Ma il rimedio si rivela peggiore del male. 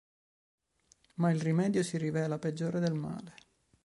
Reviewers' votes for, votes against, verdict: 2, 0, accepted